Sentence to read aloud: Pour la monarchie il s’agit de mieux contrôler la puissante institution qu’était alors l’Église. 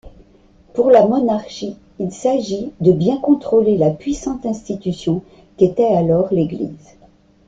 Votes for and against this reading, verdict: 0, 2, rejected